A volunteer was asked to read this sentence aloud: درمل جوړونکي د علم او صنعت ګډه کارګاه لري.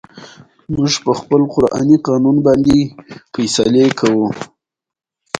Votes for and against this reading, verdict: 1, 2, rejected